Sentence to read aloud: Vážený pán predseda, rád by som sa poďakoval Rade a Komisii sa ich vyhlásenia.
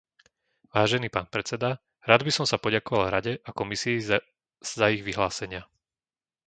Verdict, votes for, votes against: rejected, 1, 2